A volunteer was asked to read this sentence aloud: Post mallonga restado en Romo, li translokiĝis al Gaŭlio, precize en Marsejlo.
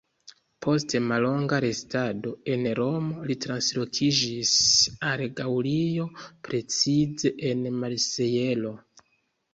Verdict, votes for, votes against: accepted, 2, 0